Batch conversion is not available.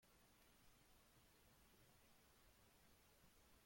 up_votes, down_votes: 0, 2